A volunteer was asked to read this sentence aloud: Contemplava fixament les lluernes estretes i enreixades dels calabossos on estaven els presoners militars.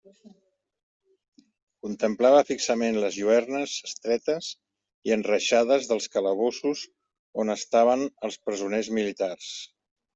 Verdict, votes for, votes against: accepted, 2, 0